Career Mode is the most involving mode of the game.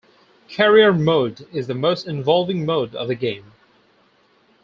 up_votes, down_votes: 2, 0